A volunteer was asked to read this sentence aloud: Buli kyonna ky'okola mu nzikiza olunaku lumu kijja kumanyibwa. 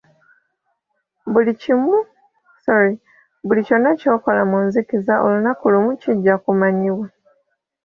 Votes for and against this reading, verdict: 0, 4, rejected